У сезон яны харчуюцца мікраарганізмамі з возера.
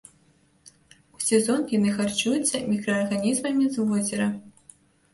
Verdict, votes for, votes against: rejected, 0, 2